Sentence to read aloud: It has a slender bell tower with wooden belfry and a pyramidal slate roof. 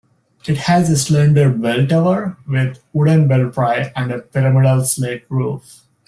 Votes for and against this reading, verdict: 1, 2, rejected